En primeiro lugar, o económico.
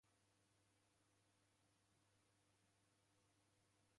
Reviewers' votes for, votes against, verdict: 0, 2, rejected